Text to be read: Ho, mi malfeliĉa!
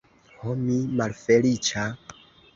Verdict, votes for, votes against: accepted, 2, 0